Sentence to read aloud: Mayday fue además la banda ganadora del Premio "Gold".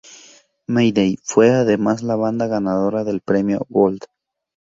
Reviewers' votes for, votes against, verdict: 8, 0, accepted